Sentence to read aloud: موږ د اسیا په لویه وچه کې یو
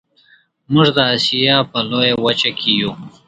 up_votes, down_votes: 2, 0